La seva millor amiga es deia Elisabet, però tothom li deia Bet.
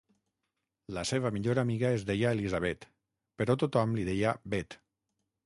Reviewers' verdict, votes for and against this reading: accepted, 6, 0